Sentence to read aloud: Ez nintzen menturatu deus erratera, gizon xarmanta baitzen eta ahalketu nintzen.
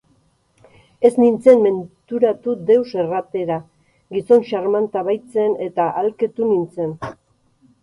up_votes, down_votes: 4, 2